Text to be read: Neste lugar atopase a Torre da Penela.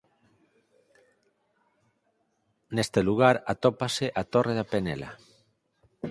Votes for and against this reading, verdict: 2, 4, rejected